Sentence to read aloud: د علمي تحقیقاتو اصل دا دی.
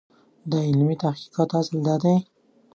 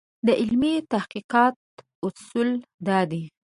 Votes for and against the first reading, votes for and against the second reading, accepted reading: 2, 0, 0, 2, first